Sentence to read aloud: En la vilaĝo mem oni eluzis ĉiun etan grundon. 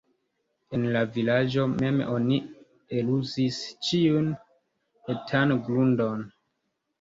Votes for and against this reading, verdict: 2, 0, accepted